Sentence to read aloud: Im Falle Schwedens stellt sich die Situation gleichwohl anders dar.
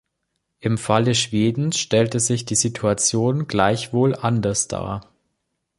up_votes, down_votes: 1, 3